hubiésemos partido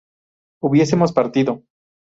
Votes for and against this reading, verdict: 2, 0, accepted